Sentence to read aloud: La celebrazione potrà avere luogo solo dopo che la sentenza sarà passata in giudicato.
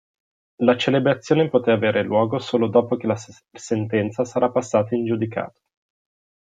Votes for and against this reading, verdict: 0, 2, rejected